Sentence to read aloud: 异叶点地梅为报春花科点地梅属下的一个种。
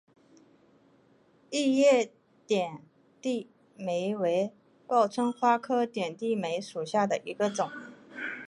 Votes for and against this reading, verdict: 3, 0, accepted